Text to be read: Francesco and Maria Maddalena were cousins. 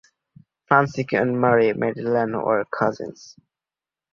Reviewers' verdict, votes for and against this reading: rejected, 1, 2